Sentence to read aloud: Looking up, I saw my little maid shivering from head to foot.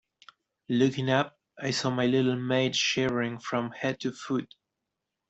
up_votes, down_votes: 2, 0